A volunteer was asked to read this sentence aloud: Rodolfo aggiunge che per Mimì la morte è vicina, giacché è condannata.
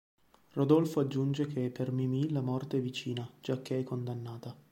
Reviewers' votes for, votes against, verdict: 2, 1, accepted